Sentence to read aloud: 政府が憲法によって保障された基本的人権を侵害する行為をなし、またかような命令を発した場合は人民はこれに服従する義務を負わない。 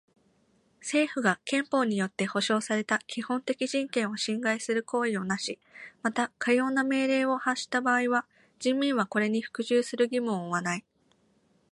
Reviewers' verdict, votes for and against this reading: accepted, 2, 0